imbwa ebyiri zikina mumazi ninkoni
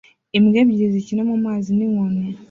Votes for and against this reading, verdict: 2, 1, accepted